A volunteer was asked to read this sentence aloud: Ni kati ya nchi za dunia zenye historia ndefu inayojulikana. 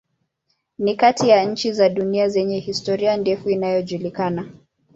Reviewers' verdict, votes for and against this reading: accepted, 2, 0